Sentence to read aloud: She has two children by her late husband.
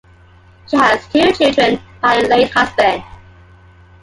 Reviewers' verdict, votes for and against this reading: accepted, 2, 1